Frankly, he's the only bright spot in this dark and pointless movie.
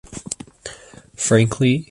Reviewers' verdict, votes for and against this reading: rejected, 1, 2